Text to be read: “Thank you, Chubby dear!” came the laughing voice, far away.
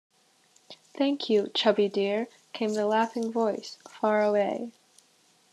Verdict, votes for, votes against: accepted, 2, 0